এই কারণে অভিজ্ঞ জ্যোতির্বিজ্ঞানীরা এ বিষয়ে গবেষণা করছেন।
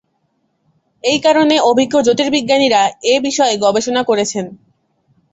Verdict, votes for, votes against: accepted, 2, 0